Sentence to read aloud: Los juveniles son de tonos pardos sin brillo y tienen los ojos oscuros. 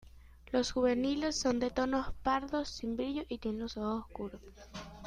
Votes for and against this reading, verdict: 2, 0, accepted